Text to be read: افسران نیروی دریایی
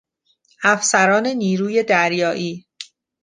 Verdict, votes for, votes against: accepted, 2, 0